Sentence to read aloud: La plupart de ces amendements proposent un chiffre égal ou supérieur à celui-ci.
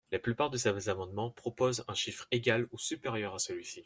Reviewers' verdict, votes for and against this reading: rejected, 1, 2